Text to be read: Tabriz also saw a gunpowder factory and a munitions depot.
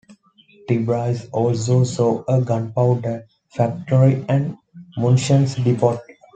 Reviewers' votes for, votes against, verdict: 1, 2, rejected